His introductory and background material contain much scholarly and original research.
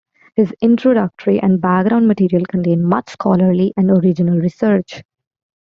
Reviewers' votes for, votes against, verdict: 2, 1, accepted